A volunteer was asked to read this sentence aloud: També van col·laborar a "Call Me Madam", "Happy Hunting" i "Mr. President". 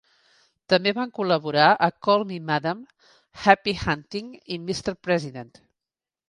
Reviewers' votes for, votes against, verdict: 2, 0, accepted